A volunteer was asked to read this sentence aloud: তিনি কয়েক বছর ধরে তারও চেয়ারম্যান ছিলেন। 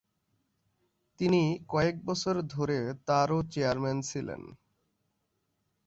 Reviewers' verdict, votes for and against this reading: accepted, 2, 0